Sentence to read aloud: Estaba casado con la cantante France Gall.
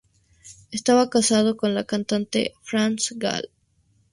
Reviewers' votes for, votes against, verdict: 2, 0, accepted